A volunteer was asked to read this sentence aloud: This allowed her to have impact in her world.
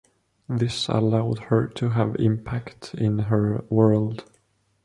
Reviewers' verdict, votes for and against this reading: accepted, 2, 0